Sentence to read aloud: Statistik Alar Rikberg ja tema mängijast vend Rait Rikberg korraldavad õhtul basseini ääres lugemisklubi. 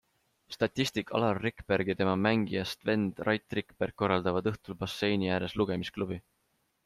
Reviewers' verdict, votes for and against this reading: accepted, 2, 0